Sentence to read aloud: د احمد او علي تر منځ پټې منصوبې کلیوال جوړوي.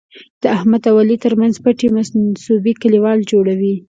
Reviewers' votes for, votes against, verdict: 2, 0, accepted